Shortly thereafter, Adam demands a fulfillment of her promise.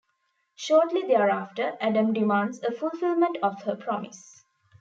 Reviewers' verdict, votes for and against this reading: accepted, 2, 1